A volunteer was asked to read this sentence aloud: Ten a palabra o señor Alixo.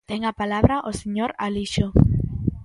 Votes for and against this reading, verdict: 2, 0, accepted